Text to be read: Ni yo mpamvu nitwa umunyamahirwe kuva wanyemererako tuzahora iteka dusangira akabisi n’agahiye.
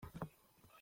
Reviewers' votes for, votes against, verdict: 0, 2, rejected